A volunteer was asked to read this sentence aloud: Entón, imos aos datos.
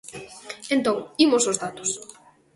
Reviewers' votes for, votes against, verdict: 2, 0, accepted